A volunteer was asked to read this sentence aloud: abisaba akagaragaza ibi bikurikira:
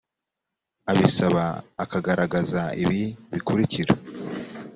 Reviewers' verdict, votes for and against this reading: accepted, 4, 0